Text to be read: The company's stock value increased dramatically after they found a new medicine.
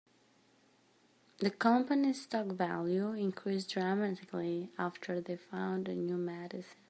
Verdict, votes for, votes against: rejected, 0, 2